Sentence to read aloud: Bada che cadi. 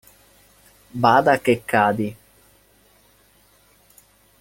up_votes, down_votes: 2, 1